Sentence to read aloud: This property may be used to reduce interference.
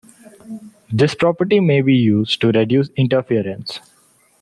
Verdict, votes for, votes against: accepted, 2, 0